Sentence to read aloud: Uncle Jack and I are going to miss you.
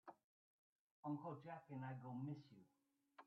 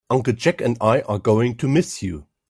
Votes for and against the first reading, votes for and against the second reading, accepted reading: 0, 2, 3, 0, second